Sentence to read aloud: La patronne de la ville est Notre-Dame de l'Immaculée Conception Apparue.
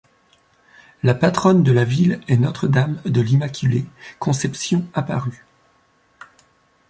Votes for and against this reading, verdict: 2, 1, accepted